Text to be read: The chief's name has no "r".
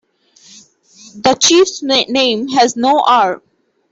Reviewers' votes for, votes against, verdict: 0, 2, rejected